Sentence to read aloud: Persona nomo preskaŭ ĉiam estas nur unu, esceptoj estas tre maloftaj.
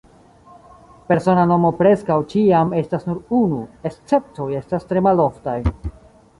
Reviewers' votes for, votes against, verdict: 2, 0, accepted